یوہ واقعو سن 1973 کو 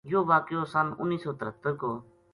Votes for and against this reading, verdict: 0, 2, rejected